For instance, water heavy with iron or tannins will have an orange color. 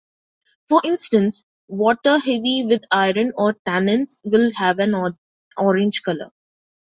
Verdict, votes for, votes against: accepted, 2, 1